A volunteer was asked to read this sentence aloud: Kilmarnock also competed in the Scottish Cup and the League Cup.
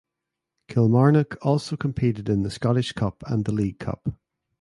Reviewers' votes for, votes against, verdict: 3, 0, accepted